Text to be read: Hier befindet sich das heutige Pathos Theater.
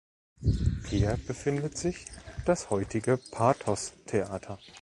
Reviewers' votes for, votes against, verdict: 2, 0, accepted